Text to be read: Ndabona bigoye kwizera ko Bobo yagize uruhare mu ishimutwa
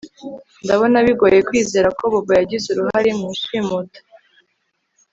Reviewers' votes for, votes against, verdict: 3, 0, accepted